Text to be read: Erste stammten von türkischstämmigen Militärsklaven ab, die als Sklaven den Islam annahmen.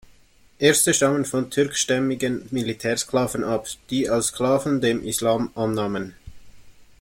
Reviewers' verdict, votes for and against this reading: rejected, 1, 2